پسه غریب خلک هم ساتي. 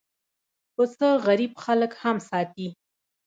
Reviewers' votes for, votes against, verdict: 2, 0, accepted